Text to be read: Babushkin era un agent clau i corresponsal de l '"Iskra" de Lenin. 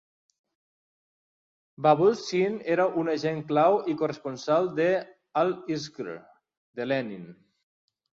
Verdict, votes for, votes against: rejected, 0, 2